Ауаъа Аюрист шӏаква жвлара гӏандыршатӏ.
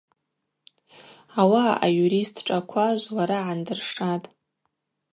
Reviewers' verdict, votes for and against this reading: accepted, 2, 0